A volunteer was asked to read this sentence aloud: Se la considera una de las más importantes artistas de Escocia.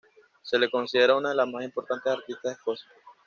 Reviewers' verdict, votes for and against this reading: rejected, 1, 2